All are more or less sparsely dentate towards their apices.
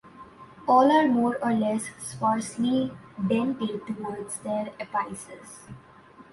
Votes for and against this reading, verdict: 0, 2, rejected